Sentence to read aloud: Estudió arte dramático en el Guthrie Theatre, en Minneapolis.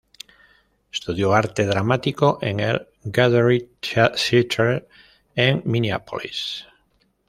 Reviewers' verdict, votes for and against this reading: rejected, 0, 2